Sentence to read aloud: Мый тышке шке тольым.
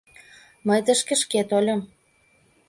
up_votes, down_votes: 2, 0